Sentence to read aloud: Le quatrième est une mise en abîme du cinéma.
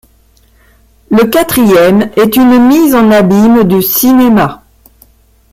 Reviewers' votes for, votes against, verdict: 1, 2, rejected